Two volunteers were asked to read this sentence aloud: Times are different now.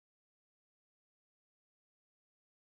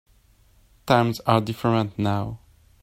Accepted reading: second